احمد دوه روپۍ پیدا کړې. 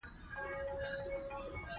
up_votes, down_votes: 1, 2